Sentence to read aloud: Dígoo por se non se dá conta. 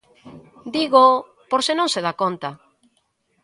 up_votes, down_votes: 2, 0